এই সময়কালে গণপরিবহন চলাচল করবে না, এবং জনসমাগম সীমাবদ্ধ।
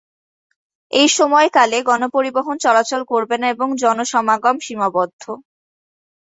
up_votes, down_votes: 3, 0